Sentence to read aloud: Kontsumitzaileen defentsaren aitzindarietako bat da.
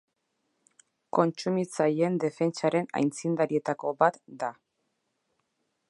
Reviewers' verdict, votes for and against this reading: accepted, 3, 0